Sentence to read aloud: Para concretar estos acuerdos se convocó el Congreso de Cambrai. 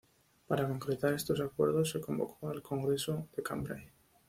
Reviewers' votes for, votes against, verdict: 2, 0, accepted